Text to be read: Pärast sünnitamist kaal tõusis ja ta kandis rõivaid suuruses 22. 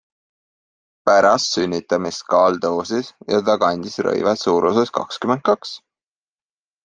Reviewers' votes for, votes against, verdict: 0, 2, rejected